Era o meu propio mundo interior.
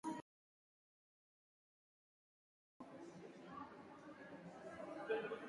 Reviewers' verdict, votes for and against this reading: rejected, 0, 4